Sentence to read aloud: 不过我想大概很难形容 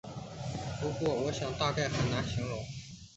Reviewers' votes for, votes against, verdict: 3, 0, accepted